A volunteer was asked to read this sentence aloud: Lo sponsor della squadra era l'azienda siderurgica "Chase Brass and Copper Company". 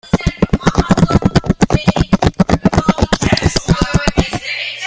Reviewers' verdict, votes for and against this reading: rejected, 0, 2